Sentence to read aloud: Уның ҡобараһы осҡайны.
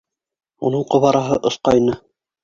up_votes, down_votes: 4, 2